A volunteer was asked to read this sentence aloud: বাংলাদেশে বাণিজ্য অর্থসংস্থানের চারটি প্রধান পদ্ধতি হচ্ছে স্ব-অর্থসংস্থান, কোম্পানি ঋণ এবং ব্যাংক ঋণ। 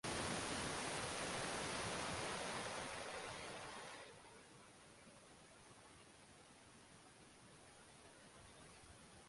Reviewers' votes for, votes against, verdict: 0, 4, rejected